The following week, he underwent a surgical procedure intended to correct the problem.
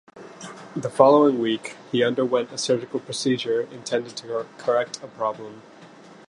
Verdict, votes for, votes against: rejected, 0, 2